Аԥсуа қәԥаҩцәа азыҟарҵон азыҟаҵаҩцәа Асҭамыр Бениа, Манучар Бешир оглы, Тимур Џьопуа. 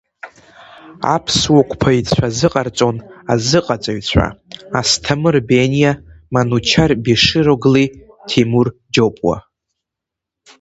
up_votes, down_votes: 2, 0